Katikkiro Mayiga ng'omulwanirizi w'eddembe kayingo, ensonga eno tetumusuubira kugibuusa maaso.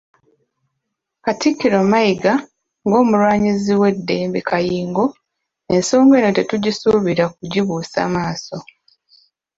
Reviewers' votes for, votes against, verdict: 1, 2, rejected